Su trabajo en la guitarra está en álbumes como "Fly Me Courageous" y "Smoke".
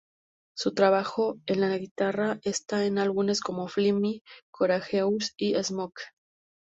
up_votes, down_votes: 0, 2